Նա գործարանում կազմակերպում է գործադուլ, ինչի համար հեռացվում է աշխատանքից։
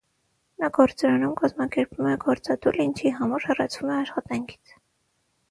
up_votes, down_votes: 0, 3